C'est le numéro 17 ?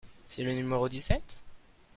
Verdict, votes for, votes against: rejected, 0, 2